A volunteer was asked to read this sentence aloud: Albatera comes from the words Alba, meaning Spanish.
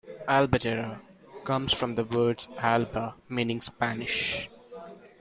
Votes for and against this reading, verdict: 2, 0, accepted